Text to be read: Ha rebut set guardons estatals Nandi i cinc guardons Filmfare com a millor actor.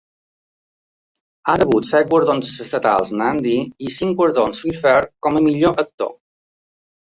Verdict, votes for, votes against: accepted, 2, 0